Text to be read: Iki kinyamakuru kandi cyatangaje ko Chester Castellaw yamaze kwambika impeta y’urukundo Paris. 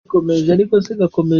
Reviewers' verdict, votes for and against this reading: rejected, 0, 2